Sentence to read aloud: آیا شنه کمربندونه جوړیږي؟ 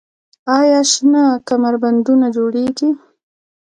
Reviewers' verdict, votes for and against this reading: rejected, 1, 2